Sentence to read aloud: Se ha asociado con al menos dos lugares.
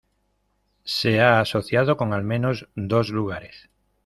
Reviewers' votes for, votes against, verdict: 2, 0, accepted